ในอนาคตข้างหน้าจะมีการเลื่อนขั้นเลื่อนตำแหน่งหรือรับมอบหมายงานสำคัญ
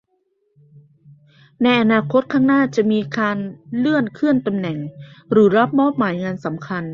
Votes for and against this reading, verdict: 0, 2, rejected